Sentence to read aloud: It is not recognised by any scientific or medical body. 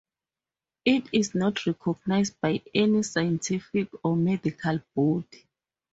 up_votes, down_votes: 2, 2